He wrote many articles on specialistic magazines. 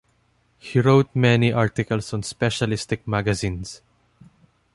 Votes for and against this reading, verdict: 2, 0, accepted